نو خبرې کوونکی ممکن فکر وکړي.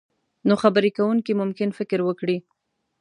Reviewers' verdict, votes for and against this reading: accepted, 2, 0